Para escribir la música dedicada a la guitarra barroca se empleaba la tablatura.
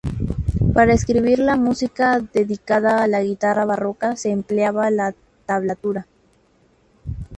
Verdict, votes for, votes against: accepted, 2, 0